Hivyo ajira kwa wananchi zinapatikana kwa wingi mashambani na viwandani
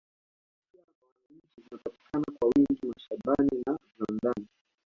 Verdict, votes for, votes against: rejected, 1, 2